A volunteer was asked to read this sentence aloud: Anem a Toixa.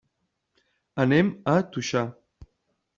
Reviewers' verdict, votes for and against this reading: rejected, 1, 2